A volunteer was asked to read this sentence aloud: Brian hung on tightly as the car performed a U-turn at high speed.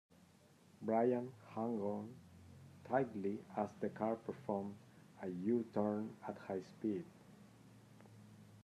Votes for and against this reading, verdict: 0, 2, rejected